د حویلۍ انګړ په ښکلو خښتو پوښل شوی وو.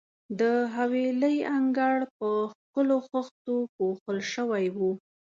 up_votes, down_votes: 2, 0